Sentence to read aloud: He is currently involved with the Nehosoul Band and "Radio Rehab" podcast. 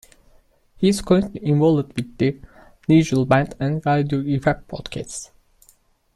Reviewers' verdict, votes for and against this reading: rejected, 0, 2